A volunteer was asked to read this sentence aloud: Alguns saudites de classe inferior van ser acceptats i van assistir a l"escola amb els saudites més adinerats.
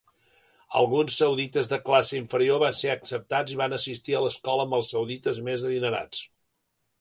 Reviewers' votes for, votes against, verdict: 0, 2, rejected